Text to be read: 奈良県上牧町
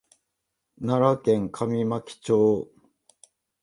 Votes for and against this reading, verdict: 1, 2, rejected